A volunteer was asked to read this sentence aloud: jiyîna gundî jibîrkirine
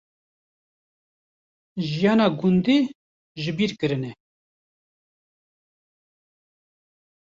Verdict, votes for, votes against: accepted, 2, 1